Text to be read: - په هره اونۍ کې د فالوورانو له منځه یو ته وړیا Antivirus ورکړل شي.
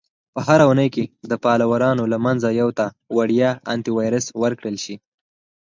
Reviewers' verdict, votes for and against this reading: rejected, 0, 4